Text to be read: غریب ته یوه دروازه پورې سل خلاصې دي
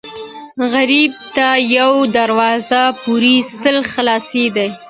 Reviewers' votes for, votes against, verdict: 2, 0, accepted